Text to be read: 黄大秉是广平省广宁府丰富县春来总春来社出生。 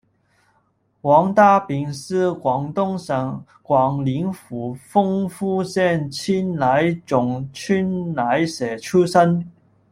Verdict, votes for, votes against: rejected, 1, 2